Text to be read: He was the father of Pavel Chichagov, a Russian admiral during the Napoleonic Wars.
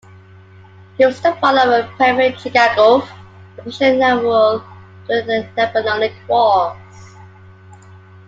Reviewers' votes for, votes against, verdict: 0, 2, rejected